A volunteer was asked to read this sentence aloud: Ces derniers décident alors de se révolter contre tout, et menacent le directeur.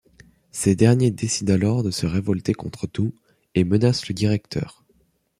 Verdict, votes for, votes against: accepted, 2, 1